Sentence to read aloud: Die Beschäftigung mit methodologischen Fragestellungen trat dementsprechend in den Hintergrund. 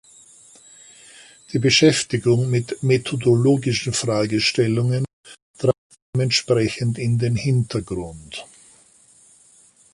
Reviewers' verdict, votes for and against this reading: rejected, 0, 2